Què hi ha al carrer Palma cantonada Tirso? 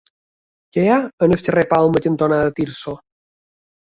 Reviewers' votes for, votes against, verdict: 1, 2, rejected